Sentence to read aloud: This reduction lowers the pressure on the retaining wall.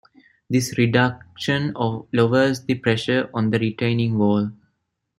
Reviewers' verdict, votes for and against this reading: rejected, 1, 2